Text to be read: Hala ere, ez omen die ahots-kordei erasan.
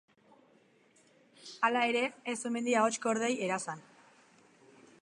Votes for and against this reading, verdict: 2, 0, accepted